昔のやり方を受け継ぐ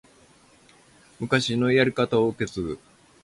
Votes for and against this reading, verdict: 2, 0, accepted